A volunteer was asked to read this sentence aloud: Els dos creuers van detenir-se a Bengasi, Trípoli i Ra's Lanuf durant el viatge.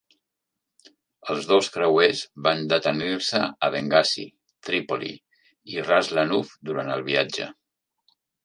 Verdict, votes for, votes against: accepted, 2, 0